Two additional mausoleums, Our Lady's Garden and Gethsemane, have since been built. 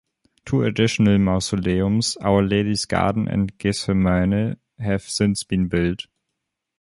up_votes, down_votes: 1, 2